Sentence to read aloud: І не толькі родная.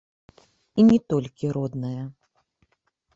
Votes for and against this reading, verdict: 1, 2, rejected